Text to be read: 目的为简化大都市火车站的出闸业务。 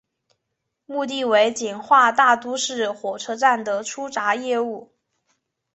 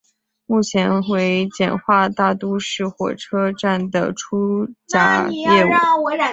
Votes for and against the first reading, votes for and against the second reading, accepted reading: 2, 0, 0, 2, first